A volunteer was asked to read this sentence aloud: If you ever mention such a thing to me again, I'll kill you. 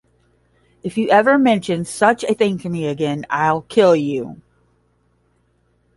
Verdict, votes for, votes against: accepted, 10, 0